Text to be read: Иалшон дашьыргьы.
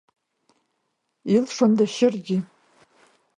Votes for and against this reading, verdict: 1, 2, rejected